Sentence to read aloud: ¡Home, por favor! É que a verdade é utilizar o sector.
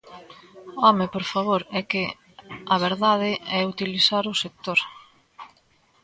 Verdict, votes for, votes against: accepted, 2, 0